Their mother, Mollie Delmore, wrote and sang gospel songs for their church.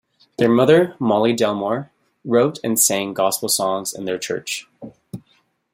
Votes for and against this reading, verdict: 2, 0, accepted